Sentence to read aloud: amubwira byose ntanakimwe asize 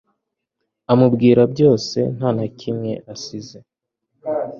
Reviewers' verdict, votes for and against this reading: accepted, 2, 0